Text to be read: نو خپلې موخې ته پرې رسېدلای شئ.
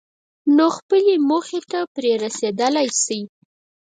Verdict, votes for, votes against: rejected, 2, 4